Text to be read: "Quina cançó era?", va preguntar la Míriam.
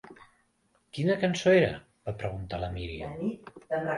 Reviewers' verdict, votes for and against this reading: rejected, 0, 2